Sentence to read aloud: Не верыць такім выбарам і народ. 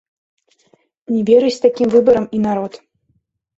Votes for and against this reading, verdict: 1, 2, rejected